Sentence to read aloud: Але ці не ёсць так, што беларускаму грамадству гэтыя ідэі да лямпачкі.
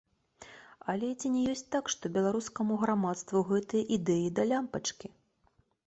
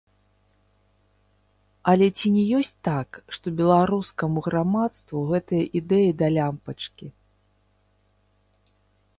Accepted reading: first